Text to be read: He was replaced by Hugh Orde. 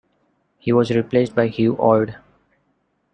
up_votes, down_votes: 1, 2